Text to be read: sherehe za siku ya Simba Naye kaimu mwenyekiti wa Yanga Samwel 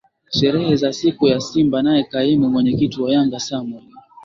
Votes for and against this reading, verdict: 3, 0, accepted